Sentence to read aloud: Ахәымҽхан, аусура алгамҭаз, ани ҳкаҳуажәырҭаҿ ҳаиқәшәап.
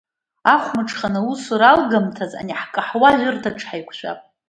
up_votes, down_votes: 2, 0